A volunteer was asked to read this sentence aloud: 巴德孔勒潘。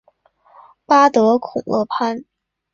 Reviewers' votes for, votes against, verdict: 3, 0, accepted